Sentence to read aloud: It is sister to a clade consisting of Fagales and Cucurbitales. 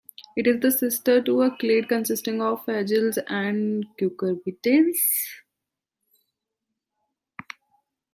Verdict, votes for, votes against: rejected, 1, 2